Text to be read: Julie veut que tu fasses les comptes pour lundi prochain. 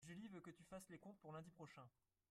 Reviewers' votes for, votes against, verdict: 2, 3, rejected